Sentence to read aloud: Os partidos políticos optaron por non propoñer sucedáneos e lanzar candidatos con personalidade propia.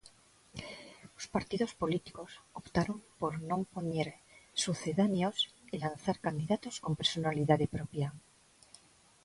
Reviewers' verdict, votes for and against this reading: rejected, 0, 2